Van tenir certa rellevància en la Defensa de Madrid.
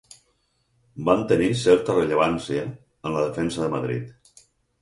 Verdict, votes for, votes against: accepted, 6, 0